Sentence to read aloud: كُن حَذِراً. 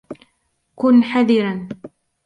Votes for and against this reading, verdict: 0, 2, rejected